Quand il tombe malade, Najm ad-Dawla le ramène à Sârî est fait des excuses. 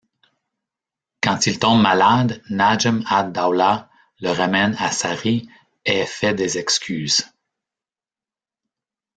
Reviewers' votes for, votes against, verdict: 0, 2, rejected